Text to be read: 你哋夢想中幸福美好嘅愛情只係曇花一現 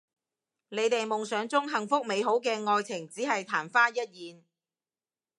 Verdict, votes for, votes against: accepted, 2, 0